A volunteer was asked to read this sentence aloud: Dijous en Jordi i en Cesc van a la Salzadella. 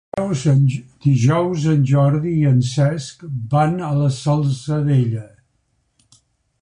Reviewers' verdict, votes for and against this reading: rejected, 1, 2